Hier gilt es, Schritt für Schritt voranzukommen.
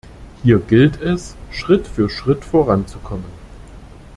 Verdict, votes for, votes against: accepted, 2, 1